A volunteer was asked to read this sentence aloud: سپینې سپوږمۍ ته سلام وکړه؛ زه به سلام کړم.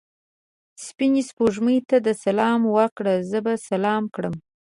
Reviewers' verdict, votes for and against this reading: rejected, 1, 2